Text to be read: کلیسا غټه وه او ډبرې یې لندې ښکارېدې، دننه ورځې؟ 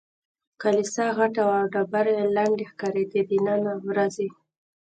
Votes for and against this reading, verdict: 1, 2, rejected